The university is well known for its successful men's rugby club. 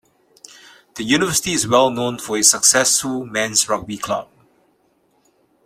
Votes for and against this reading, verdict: 2, 1, accepted